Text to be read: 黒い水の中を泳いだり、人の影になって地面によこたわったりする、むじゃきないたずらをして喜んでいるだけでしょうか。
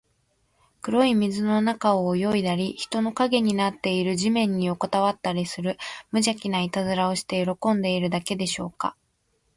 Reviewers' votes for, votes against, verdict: 0, 2, rejected